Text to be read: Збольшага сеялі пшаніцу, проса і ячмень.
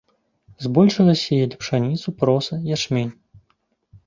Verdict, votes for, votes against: rejected, 1, 2